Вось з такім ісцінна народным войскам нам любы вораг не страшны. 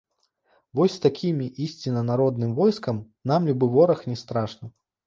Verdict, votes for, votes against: rejected, 0, 2